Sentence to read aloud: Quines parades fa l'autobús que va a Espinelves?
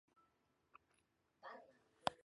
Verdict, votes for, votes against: rejected, 0, 2